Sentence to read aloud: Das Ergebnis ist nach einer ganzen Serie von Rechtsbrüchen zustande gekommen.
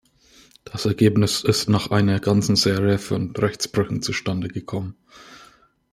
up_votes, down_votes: 1, 2